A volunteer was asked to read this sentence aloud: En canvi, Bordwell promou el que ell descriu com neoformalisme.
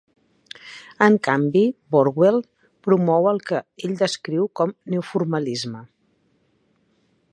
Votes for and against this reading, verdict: 2, 0, accepted